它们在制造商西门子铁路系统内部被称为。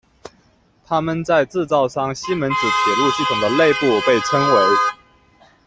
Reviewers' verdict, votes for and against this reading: rejected, 0, 2